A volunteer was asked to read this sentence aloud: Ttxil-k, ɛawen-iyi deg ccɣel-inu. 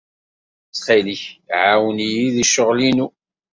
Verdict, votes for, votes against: accepted, 2, 0